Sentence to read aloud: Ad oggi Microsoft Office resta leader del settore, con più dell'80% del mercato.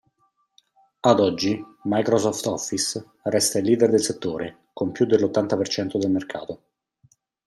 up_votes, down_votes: 0, 2